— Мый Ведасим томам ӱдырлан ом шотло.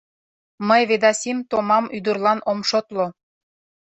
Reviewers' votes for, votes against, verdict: 2, 0, accepted